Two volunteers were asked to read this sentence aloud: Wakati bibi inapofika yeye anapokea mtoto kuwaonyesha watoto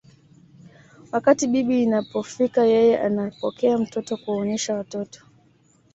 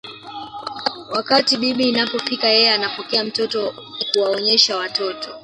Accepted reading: first